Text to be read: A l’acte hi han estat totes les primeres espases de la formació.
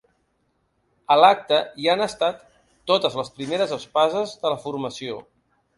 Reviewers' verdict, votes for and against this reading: accepted, 3, 0